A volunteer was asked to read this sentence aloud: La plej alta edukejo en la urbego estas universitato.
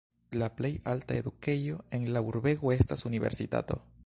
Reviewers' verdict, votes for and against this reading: rejected, 0, 2